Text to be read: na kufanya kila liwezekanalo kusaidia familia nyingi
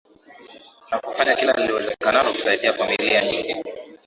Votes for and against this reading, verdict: 0, 2, rejected